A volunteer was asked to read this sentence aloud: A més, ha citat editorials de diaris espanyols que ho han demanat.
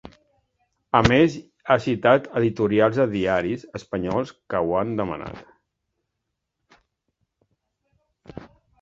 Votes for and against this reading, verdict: 2, 0, accepted